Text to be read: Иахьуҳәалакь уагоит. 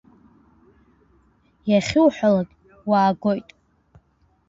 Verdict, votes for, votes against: rejected, 1, 2